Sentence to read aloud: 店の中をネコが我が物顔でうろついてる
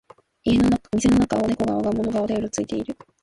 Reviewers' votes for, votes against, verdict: 2, 0, accepted